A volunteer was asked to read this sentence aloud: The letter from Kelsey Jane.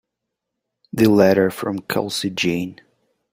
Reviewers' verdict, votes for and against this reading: accepted, 2, 0